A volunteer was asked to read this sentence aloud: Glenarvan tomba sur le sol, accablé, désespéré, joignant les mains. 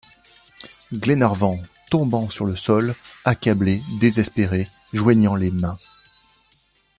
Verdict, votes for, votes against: rejected, 0, 2